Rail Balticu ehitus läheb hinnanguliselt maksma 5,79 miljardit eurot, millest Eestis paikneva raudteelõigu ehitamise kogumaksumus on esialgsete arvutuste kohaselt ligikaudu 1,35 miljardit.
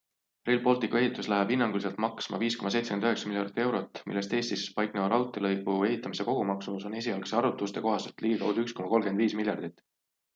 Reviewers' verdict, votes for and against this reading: rejected, 0, 2